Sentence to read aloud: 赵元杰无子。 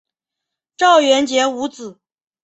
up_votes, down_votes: 2, 0